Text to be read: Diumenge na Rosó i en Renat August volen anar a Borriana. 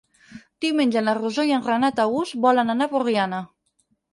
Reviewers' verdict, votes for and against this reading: rejected, 0, 4